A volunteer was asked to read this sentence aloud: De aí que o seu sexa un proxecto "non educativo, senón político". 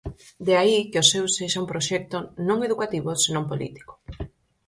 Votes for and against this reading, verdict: 4, 0, accepted